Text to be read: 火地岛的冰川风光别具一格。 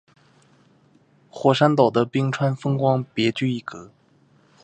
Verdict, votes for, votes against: rejected, 2, 2